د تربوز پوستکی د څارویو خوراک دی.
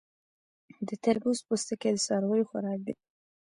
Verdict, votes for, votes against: rejected, 0, 2